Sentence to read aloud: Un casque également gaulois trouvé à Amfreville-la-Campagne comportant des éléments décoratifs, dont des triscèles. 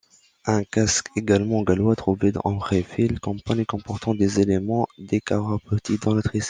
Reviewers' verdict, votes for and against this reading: rejected, 0, 2